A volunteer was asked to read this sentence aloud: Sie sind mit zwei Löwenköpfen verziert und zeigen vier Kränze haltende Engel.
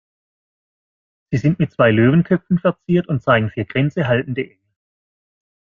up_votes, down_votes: 0, 2